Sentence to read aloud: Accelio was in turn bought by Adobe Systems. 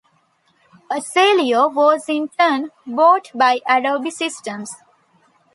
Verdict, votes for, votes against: accepted, 2, 0